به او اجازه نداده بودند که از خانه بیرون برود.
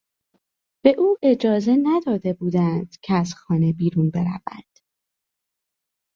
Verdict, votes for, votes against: accepted, 3, 0